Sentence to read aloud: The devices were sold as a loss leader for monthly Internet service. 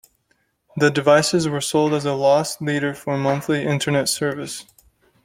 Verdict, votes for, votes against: accepted, 2, 0